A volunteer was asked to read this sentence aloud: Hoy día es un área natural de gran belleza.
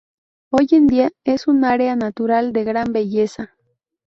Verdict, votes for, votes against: rejected, 0, 2